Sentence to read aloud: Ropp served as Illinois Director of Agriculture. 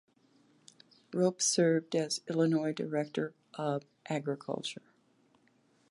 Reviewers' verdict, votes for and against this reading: accepted, 2, 0